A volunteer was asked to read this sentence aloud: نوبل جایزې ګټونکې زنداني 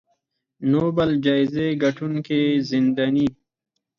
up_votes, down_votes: 4, 2